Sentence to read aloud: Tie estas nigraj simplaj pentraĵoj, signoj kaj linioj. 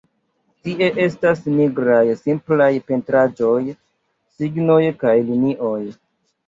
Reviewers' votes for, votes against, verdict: 2, 1, accepted